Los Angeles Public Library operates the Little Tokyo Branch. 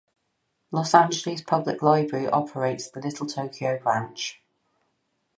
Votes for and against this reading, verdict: 4, 0, accepted